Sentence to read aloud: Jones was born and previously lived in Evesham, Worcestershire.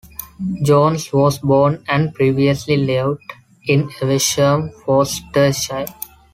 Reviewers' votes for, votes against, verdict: 1, 2, rejected